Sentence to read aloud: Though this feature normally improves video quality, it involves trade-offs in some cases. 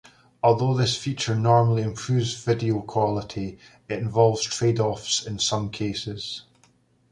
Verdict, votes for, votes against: rejected, 1, 2